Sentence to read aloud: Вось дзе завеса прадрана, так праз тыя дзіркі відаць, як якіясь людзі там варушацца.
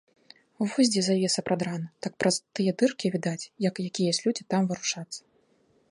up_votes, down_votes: 0, 2